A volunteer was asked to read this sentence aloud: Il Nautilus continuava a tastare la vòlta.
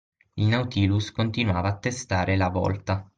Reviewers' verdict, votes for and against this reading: rejected, 0, 6